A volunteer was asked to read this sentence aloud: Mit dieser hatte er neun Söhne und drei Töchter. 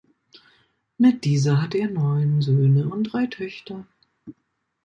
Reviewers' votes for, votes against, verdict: 2, 0, accepted